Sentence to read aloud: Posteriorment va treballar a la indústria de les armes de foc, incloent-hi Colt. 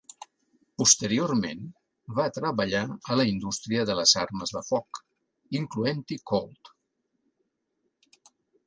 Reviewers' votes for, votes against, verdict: 3, 0, accepted